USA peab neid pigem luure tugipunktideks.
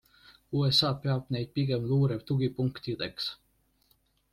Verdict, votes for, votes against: accepted, 2, 0